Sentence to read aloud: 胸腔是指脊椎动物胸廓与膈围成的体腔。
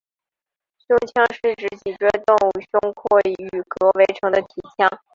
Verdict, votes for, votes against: rejected, 0, 2